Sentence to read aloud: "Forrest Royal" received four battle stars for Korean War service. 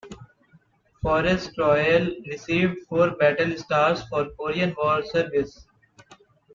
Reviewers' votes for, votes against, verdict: 2, 0, accepted